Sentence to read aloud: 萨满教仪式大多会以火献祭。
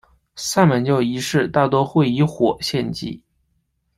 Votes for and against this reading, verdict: 2, 0, accepted